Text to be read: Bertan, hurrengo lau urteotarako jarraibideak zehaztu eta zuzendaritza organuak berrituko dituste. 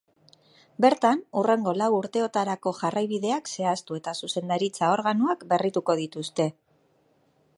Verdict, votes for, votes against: accepted, 2, 0